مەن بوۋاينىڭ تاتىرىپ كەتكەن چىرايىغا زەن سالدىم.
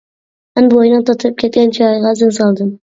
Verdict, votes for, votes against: rejected, 0, 2